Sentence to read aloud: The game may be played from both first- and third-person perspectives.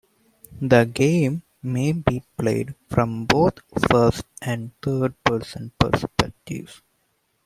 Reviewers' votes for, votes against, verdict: 2, 0, accepted